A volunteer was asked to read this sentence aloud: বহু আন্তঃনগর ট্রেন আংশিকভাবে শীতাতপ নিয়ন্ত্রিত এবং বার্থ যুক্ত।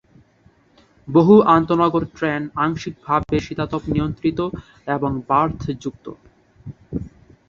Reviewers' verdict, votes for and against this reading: accepted, 3, 0